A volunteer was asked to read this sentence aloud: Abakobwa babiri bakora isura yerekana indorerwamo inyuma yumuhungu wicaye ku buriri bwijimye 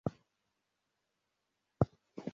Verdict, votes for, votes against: rejected, 0, 2